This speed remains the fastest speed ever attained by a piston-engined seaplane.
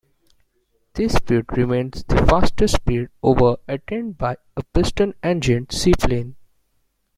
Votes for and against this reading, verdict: 1, 2, rejected